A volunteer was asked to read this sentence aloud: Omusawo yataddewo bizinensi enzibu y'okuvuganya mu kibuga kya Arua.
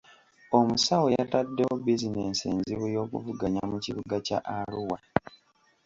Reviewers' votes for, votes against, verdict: 2, 0, accepted